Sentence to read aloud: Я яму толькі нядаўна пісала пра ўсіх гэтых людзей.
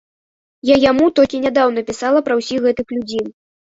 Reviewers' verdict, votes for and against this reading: accepted, 2, 0